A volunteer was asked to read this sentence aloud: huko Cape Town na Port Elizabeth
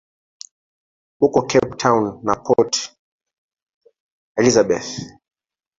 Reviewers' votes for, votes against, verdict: 1, 2, rejected